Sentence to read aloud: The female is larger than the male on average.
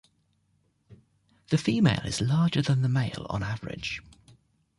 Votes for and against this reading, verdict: 3, 0, accepted